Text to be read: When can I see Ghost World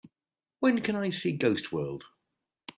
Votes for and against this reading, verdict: 2, 0, accepted